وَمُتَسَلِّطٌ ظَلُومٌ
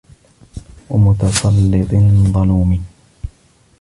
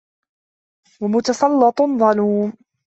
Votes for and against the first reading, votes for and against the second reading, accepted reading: 0, 2, 2, 0, second